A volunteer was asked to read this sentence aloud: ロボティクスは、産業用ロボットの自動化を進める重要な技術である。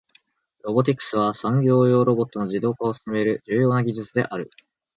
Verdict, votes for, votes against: rejected, 1, 2